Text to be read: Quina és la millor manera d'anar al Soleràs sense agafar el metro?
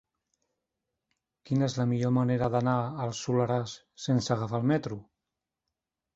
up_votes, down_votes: 3, 0